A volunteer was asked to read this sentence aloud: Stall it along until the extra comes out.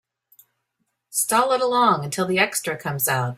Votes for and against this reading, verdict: 2, 0, accepted